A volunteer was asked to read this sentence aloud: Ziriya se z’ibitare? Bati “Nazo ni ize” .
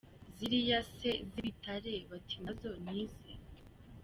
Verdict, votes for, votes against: rejected, 1, 2